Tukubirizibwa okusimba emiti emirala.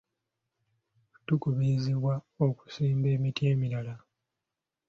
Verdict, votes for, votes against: accepted, 2, 0